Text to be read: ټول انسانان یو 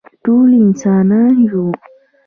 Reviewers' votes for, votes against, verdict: 2, 0, accepted